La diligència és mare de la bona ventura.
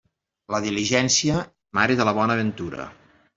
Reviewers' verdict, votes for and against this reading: rejected, 1, 2